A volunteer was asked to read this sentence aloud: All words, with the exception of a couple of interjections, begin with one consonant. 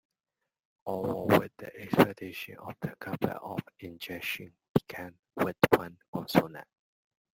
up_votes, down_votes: 1, 2